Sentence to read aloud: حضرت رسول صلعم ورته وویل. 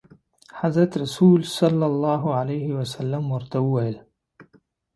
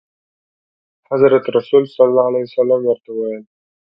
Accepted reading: first